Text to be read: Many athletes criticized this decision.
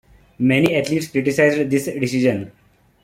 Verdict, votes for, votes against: rejected, 1, 2